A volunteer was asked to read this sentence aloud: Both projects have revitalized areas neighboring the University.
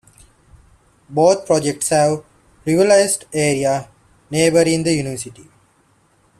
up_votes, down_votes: 0, 2